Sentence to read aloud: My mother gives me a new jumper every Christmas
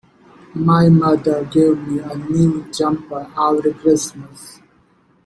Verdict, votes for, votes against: rejected, 0, 2